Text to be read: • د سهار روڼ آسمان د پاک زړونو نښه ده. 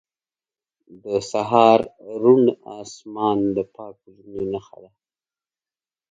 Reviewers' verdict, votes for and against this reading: accepted, 3, 0